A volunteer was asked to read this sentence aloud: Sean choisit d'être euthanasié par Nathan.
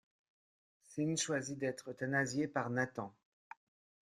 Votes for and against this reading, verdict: 2, 1, accepted